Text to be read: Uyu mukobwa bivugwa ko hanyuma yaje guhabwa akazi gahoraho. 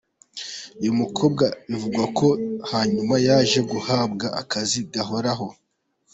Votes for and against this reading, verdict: 2, 0, accepted